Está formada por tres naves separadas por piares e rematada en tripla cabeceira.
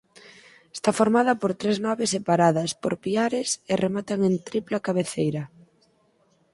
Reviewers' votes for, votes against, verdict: 2, 4, rejected